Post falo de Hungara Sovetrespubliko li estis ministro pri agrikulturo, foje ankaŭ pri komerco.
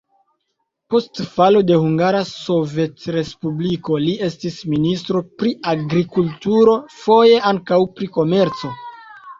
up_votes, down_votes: 2, 1